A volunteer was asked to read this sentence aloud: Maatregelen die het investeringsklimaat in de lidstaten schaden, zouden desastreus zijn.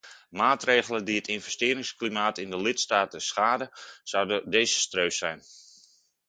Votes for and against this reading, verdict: 2, 0, accepted